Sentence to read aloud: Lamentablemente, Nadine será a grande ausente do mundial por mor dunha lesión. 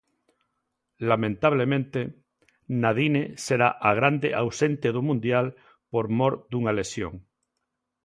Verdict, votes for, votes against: accepted, 2, 0